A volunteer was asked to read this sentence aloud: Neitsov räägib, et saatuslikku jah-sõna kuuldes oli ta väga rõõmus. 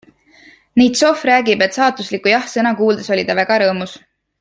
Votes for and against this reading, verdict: 2, 0, accepted